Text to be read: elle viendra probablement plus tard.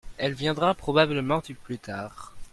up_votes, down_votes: 0, 2